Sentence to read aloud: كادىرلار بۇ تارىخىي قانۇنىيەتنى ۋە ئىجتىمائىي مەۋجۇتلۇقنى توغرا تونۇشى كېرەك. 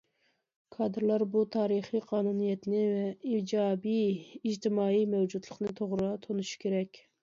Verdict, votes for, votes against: rejected, 0, 2